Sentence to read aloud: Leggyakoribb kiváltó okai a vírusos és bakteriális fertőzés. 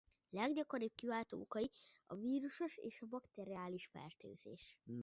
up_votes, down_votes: 1, 2